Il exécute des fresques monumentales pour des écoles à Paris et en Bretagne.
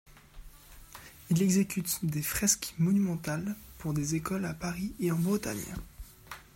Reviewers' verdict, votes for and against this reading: accepted, 2, 0